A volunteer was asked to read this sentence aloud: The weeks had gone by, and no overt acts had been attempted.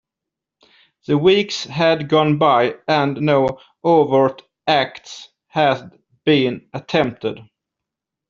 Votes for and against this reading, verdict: 2, 0, accepted